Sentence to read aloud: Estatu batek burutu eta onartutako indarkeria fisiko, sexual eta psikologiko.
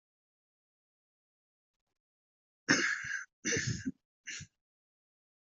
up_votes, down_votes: 0, 2